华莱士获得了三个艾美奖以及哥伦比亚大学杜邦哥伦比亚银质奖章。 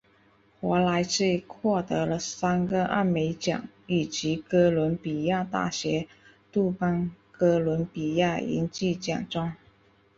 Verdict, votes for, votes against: accepted, 3, 0